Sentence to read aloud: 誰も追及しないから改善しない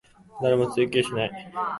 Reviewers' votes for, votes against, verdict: 0, 2, rejected